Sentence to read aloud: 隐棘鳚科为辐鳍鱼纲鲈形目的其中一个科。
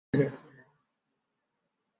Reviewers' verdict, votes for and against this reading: rejected, 1, 2